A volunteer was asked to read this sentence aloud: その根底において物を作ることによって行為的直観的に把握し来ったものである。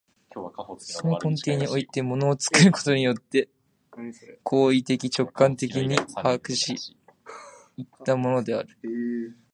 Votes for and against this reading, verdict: 0, 3, rejected